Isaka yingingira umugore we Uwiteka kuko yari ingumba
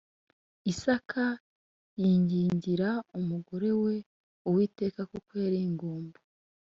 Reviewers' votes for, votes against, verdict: 0, 2, rejected